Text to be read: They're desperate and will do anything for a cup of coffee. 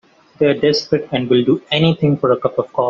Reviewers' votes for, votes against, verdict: 0, 2, rejected